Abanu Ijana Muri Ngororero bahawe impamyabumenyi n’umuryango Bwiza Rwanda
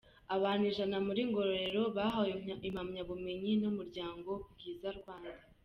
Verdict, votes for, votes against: accepted, 2, 1